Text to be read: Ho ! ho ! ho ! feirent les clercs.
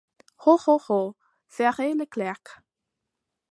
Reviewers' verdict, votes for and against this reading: accepted, 2, 1